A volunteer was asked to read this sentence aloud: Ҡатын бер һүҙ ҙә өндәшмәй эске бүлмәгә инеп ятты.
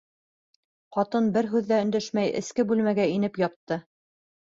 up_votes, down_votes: 3, 0